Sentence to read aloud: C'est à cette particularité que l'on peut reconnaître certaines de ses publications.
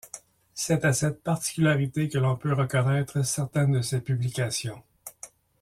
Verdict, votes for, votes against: accepted, 2, 0